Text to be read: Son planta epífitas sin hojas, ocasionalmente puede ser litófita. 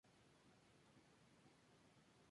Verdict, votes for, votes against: rejected, 0, 2